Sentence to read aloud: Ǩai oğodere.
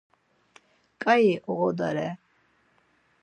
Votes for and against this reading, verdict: 4, 0, accepted